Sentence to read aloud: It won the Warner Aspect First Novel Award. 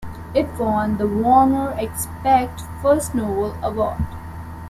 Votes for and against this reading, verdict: 0, 2, rejected